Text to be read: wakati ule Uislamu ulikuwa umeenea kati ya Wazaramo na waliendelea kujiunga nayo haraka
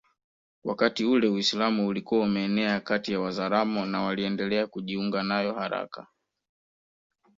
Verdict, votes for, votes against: rejected, 1, 2